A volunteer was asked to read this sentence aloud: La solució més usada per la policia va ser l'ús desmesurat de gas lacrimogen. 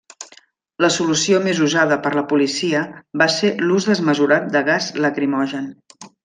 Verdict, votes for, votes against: accepted, 3, 0